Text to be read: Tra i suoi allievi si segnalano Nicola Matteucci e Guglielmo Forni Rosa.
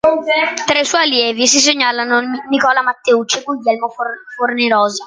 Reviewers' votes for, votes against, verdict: 2, 1, accepted